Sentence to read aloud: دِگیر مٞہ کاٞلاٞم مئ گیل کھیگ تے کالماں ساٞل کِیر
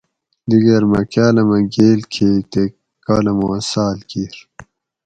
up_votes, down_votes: 2, 4